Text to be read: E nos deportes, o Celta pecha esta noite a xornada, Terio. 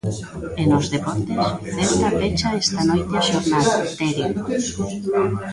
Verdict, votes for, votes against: rejected, 0, 2